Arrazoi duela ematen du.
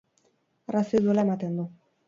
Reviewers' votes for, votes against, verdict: 4, 0, accepted